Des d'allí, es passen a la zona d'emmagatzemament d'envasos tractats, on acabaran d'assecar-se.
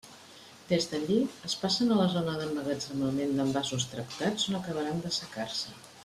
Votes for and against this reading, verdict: 2, 0, accepted